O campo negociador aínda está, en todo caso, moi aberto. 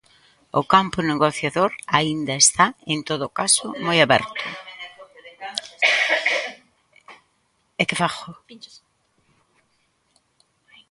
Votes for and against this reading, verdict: 0, 2, rejected